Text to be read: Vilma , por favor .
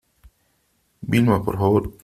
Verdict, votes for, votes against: accepted, 3, 0